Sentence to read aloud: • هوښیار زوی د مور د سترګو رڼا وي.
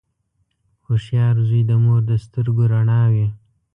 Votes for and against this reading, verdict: 1, 2, rejected